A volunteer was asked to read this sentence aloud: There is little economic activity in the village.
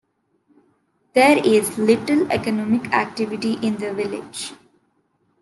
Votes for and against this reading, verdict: 2, 0, accepted